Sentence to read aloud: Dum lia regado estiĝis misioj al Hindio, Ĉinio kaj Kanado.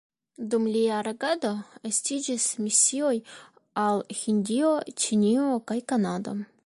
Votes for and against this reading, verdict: 1, 2, rejected